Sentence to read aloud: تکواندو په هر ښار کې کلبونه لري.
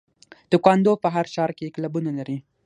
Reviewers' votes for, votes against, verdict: 6, 0, accepted